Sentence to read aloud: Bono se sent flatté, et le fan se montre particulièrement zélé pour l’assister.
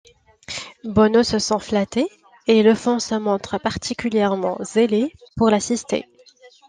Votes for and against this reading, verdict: 1, 2, rejected